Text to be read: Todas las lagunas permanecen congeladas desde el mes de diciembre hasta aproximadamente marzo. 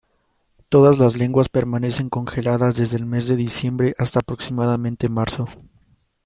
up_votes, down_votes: 0, 2